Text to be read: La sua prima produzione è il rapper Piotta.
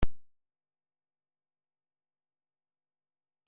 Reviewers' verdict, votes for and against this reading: rejected, 0, 2